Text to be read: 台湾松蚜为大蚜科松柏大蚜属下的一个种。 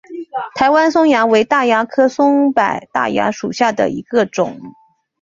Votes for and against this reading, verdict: 2, 0, accepted